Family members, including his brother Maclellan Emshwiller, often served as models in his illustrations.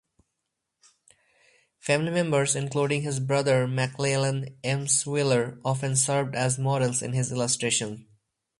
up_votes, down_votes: 4, 2